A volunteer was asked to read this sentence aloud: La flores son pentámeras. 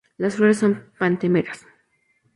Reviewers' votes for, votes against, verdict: 0, 2, rejected